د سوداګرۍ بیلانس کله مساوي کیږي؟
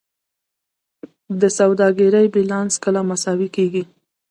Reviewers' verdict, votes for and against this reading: rejected, 1, 2